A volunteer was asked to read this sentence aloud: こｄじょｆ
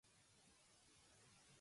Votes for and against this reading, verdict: 0, 2, rejected